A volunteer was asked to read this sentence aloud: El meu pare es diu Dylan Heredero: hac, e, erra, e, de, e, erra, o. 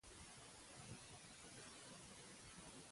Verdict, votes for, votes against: rejected, 1, 2